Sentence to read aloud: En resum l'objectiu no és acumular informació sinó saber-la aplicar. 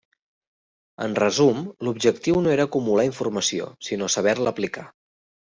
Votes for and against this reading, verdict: 1, 2, rejected